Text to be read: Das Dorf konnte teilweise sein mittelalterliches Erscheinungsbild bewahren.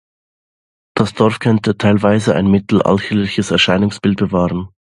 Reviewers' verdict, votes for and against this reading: rejected, 0, 2